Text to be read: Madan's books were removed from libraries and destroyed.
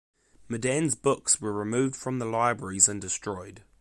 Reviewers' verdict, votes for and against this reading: rejected, 1, 2